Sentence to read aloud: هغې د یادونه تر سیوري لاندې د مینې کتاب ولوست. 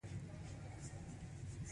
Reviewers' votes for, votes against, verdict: 2, 0, accepted